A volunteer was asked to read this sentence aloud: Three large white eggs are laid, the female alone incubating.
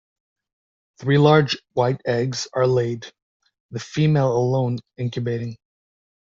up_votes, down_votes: 2, 0